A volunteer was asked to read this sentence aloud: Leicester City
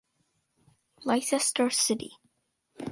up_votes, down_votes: 2, 0